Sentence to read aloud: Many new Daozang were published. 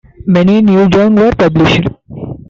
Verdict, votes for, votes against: rejected, 0, 2